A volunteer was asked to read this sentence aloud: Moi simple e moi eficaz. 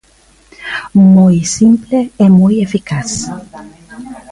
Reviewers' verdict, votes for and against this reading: rejected, 1, 2